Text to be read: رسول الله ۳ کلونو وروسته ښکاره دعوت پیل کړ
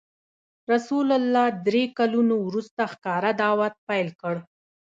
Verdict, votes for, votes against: rejected, 0, 2